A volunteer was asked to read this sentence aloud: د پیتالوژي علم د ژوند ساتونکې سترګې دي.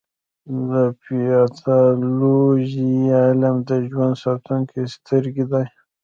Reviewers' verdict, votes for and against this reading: rejected, 2, 3